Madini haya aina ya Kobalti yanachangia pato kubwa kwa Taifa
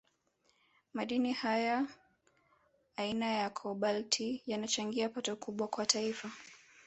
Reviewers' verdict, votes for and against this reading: accepted, 3, 0